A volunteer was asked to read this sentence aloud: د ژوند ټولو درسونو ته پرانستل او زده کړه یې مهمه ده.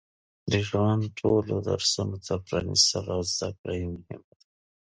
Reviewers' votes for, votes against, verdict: 1, 2, rejected